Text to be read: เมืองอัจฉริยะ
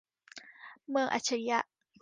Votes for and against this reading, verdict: 2, 0, accepted